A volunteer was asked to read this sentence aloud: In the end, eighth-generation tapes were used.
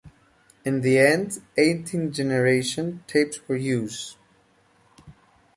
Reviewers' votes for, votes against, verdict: 0, 2, rejected